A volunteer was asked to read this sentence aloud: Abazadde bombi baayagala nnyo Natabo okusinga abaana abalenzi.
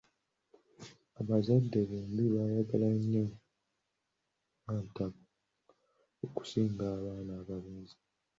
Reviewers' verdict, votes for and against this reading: accepted, 2, 0